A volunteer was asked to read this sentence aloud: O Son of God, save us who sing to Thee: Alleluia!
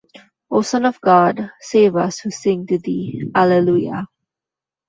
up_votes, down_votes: 2, 0